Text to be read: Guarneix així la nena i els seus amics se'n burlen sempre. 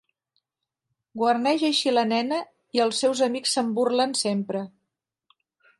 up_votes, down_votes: 3, 0